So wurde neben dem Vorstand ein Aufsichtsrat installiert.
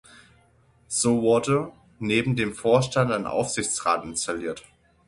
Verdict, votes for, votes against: accepted, 6, 3